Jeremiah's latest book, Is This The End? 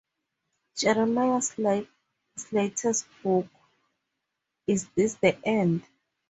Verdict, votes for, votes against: rejected, 2, 2